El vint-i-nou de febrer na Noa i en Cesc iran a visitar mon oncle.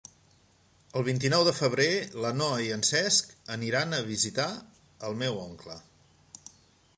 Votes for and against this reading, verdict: 0, 3, rejected